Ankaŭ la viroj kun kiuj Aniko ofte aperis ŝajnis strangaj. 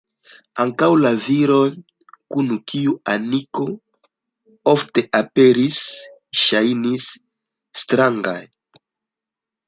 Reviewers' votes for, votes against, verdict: 2, 0, accepted